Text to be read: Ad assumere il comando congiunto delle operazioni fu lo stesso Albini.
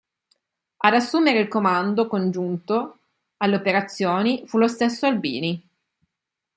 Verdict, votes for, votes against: rejected, 0, 2